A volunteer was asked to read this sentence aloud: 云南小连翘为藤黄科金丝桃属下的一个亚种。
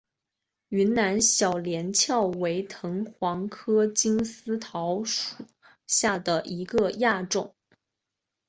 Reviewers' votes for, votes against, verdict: 2, 1, accepted